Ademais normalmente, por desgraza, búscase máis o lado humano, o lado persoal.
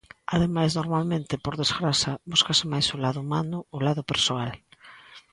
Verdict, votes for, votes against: accepted, 2, 0